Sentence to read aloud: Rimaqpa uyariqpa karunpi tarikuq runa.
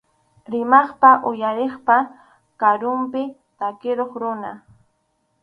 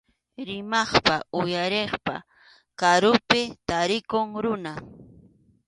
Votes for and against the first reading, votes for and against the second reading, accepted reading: 2, 2, 2, 1, second